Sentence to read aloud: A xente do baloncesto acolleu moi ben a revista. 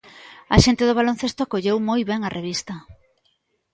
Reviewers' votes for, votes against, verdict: 2, 0, accepted